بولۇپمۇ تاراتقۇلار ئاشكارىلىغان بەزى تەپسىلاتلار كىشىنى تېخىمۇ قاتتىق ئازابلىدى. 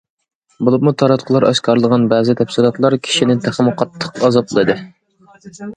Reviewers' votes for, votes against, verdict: 2, 0, accepted